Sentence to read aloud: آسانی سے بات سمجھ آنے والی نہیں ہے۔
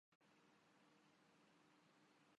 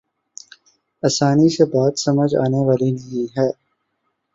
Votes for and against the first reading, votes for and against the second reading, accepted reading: 0, 2, 5, 0, second